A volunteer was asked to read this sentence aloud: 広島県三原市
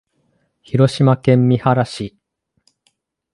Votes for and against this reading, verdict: 2, 0, accepted